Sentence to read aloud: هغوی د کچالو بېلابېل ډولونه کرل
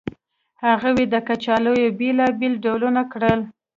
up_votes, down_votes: 0, 2